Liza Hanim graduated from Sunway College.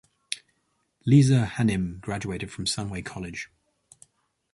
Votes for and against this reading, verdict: 2, 0, accepted